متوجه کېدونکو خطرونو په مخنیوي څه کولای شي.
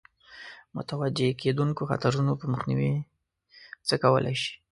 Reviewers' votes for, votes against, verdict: 2, 0, accepted